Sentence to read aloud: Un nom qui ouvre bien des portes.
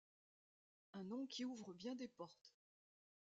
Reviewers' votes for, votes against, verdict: 1, 2, rejected